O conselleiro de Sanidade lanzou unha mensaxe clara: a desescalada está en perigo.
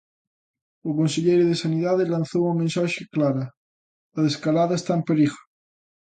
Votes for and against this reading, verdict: 0, 2, rejected